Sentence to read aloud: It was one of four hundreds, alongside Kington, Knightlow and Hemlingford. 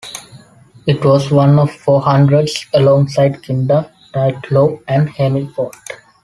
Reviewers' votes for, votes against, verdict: 1, 2, rejected